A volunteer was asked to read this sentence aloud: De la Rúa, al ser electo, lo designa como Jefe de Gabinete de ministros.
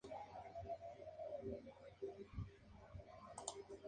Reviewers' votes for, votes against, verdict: 0, 2, rejected